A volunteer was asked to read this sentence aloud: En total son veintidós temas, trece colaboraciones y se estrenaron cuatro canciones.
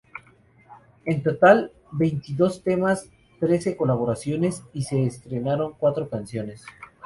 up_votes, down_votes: 2, 0